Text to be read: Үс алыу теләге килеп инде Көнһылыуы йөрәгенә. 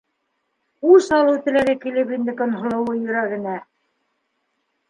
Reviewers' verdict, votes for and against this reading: accepted, 2, 1